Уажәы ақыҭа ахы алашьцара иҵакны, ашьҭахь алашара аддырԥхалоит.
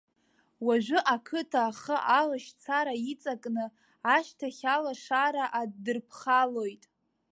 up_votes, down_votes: 1, 2